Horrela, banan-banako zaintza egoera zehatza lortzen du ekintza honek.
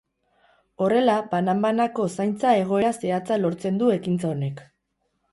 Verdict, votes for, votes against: rejected, 2, 2